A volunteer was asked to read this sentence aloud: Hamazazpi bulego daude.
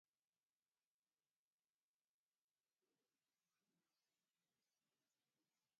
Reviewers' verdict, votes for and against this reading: rejected, 0, 2